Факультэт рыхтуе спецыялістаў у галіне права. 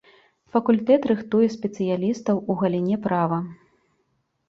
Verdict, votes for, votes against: rejected, 0, 2